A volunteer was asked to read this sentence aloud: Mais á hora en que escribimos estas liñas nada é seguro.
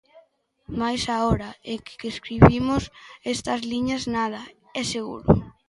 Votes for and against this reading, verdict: 1, 2, rejected